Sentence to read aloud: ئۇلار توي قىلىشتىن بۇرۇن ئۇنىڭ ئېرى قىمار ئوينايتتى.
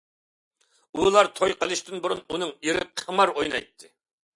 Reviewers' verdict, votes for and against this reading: accepted, 2, 0